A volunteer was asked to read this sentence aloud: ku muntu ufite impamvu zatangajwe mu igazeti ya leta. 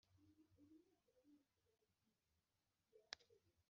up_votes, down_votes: 1, 2